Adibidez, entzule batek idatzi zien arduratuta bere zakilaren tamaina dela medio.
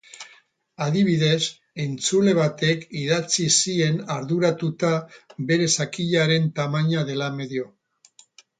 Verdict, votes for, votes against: accepted, 4, 0